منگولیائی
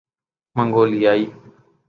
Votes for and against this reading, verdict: 3, 0, accepted